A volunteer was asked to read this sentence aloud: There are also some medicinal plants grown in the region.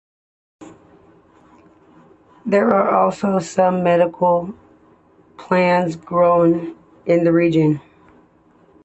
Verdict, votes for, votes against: accepted, 2, 1